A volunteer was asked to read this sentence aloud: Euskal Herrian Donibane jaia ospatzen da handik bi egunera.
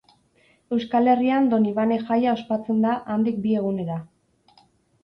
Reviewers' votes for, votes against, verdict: 4, 0, accepted